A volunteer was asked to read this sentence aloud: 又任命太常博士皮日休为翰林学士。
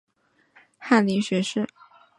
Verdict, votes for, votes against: rejected, 0, 2